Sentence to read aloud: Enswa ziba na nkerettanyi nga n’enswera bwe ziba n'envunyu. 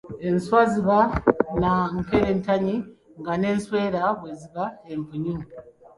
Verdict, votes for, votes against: rejected, 1, 2